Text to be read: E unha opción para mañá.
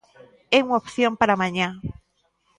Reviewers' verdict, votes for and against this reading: accepted, 2, 0